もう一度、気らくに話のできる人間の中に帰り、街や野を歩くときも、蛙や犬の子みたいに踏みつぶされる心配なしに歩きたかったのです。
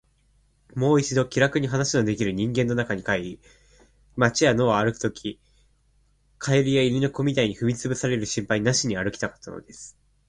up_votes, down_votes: 1, 2